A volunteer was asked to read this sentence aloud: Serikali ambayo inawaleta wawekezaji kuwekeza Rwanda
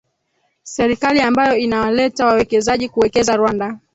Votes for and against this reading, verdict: 2, 0, accepted